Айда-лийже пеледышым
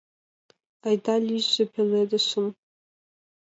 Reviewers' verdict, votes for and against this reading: accepted, 2, 0